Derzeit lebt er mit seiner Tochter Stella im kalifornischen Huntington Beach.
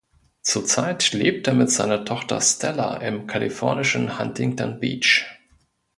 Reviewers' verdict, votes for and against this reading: rejected, 0, 2